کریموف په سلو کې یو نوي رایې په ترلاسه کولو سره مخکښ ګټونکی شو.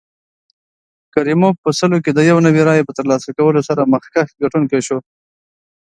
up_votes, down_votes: 2, 0